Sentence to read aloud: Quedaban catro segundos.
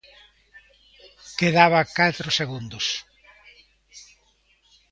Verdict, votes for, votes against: rejected, 1, 2